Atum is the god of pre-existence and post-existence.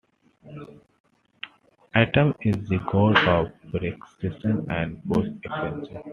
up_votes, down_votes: 2, 1